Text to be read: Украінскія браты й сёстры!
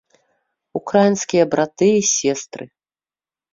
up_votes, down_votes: 1, 2